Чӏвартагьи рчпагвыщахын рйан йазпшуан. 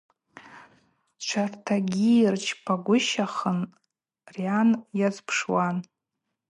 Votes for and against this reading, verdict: 2, 4, rejected